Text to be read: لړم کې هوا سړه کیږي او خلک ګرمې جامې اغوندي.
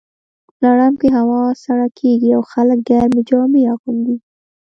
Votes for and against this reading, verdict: 1, 2, rejected